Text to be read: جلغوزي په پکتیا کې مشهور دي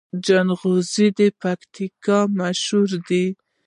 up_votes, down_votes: 1, 2